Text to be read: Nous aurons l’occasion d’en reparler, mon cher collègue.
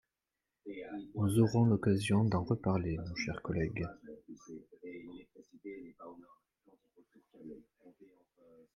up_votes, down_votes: 2, 0